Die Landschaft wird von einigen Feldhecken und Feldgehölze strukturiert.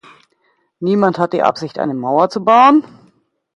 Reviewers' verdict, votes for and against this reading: rejected, 0, 2